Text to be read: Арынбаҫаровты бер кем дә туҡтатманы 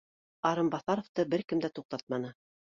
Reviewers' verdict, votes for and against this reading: accepted, 2, 0